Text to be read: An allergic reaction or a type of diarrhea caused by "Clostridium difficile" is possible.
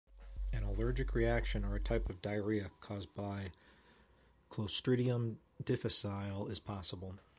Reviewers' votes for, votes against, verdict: 2, 1, accepted